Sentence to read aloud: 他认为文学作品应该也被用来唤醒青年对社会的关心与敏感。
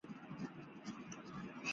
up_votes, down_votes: 0, 6